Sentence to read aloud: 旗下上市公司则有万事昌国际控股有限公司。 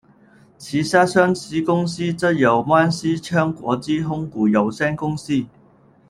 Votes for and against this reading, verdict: 0, 2, rejected